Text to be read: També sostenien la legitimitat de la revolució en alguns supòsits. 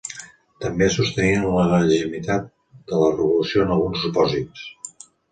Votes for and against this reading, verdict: 1, 2, rejected